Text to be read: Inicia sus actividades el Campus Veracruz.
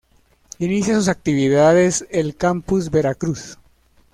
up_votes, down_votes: 2, 0